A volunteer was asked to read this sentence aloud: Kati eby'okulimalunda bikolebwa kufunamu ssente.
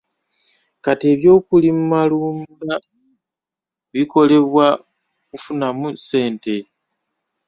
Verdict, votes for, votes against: rejected, 1, 2